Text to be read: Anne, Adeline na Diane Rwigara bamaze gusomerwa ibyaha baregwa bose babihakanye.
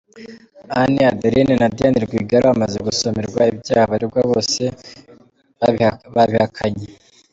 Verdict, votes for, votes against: rejected, 1, 4